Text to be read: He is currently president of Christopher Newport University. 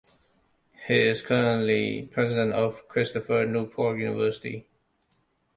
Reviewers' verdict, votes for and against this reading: rejected, 0, 2